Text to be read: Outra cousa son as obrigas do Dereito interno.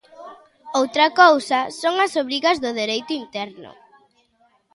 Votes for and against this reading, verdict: 2, 1, accepted